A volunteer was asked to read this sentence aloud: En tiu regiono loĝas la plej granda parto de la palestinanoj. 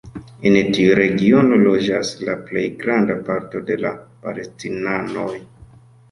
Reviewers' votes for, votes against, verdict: 2, 0, accepted